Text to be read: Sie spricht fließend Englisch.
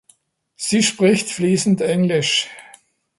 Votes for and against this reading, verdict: 2, 0, accepted